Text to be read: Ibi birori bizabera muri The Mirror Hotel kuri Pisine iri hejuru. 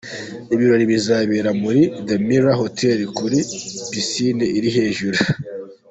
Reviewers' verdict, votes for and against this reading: accepted, 2, 0